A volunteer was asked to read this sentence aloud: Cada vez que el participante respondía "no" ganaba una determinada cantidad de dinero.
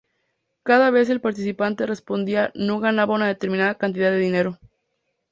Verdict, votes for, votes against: rejected, 0, 2